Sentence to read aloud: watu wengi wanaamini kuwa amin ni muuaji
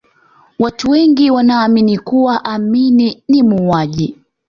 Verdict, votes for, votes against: accepted, 2, 0